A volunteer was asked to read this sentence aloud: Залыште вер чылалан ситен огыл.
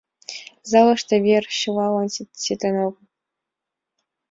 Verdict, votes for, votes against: rejected, 1, 5